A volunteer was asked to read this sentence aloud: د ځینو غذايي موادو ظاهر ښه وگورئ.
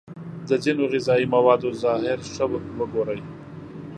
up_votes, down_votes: 2, 0